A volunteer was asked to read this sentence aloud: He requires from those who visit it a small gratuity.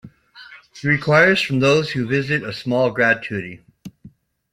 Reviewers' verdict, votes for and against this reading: rejected, 0, 2